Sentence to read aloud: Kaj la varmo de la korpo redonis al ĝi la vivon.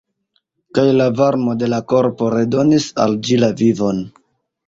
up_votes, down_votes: 1, 2